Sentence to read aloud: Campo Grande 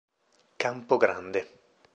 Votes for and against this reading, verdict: 2, 0, accepted